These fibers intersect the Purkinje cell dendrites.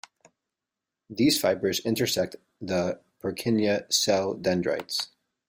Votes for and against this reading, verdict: 2, 0, accepted